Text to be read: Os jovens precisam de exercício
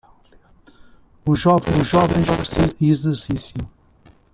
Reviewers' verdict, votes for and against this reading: rejected, 0, 2